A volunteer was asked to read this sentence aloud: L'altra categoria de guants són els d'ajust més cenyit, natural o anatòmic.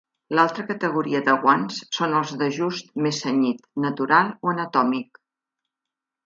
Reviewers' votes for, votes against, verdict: 2, 0, accepted